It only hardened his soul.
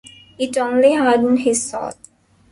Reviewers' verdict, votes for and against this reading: rejected, 2, 3